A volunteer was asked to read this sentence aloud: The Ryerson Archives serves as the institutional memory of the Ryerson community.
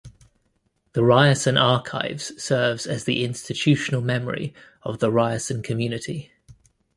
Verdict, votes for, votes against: accepted, 2, 0